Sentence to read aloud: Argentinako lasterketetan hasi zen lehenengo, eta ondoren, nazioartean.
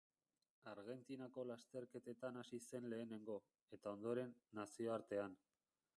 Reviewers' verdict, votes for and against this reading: rejected, 0, 2